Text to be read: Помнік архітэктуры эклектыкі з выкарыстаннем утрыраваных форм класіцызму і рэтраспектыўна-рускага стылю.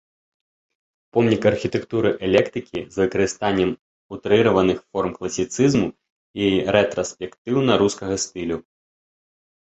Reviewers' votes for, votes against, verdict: 1, 2, rejected